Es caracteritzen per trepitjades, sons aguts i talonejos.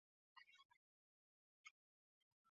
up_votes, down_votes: 1, 2